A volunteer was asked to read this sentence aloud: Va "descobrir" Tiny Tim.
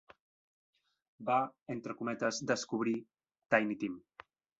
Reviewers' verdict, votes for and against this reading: rejected, 1, 2